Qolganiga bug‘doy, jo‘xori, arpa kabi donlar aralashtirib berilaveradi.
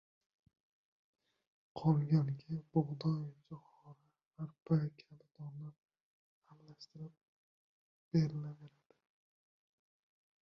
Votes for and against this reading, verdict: 1, 2, rejected